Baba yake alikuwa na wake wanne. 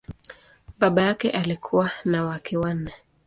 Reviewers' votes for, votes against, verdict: 2, 0, accepted